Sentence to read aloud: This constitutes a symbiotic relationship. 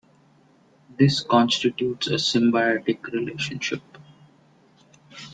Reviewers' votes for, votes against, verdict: 2, 0, accepted